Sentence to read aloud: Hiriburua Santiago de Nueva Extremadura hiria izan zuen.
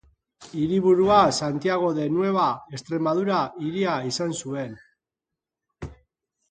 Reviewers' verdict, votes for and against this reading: accepted, 4, 0